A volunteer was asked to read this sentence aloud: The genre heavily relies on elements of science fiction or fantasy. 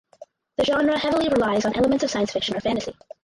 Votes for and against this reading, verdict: 0, 4, rejected